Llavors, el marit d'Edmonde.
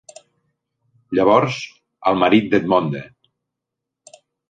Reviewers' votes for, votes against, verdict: 2, 0, accepted